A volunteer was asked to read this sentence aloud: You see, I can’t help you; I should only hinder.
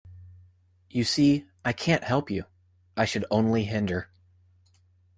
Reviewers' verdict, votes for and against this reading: accepted, 2, 0